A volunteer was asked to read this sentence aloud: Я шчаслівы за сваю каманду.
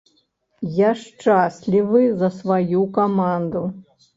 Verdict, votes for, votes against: rejected, 1, 3